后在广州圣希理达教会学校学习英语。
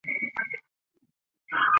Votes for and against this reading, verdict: 0, 3, rejected